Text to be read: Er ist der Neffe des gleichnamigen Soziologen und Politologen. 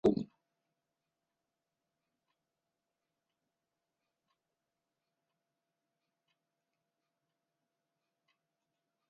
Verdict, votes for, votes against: rejected, 0, 3